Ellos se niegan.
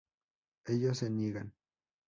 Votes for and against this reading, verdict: 0, 2, rejected